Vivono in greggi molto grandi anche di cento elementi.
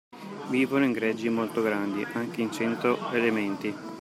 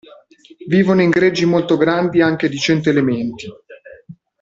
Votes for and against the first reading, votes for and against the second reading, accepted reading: 1, 2, 2, 1, second